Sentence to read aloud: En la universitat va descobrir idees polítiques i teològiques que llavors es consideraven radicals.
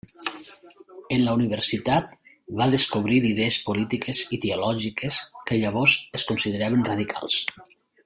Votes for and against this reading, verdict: 0, 2, rejected